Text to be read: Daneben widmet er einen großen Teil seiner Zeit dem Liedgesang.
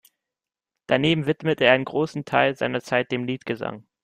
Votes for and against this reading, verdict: 2, 0, accepted